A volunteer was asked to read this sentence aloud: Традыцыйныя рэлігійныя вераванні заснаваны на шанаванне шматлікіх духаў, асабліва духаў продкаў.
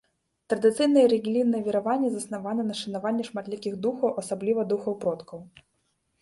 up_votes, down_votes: 0, 2